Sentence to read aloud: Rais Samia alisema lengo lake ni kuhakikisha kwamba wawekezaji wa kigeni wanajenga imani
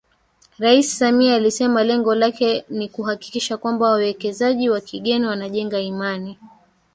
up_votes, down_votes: 1, 2